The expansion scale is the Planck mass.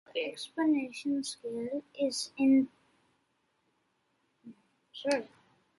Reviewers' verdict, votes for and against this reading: rejected, 1, 2